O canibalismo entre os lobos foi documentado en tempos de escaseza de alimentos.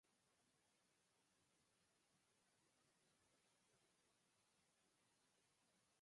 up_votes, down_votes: 0, 4